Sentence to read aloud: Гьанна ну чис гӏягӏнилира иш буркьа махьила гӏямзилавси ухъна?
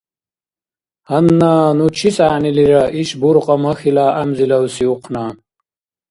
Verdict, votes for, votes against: accepted, 2, 0